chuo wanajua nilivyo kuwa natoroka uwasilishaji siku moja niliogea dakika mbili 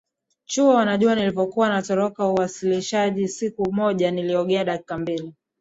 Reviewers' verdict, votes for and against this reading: accepted, 2, 1